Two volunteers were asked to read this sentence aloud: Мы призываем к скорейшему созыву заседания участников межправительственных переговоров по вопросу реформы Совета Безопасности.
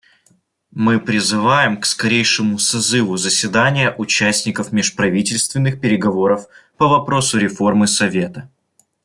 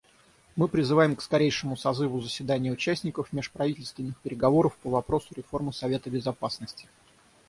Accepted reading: second